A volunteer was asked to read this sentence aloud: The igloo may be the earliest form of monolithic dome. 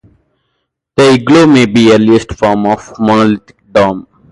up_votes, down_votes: 0, 4